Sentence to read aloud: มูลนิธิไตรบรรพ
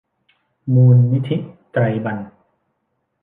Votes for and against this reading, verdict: 1, 2, rejected